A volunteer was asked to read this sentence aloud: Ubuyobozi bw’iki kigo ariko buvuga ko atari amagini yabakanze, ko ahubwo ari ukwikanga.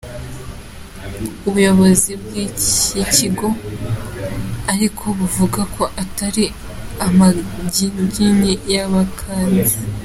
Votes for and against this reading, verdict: 0, 2, rejected